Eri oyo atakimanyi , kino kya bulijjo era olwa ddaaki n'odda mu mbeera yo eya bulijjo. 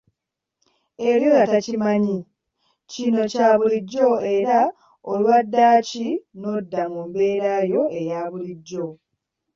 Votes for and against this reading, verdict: 2, 0, accepted